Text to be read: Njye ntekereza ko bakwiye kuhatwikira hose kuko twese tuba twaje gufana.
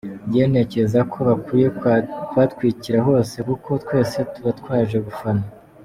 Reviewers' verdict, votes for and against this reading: rejected, 1, 2